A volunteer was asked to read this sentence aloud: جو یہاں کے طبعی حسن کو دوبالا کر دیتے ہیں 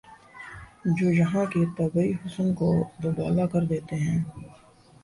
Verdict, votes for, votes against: accepted, 3, 0